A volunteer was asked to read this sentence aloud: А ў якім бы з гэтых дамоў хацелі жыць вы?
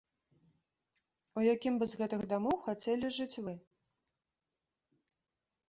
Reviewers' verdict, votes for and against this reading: rejected, 0, 2